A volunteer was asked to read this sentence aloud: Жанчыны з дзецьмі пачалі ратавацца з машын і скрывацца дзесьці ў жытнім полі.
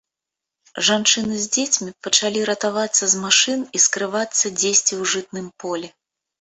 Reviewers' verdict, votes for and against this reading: rejected, 1, 2